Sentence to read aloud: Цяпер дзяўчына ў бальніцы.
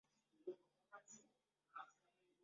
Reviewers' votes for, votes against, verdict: 0, 2, rejected